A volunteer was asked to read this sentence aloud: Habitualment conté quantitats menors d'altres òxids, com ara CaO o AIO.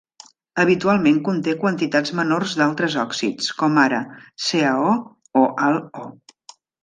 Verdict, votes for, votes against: rejected, 0, 2